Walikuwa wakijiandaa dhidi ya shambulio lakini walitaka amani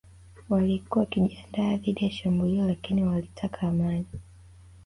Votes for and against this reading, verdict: 1, 2, rejected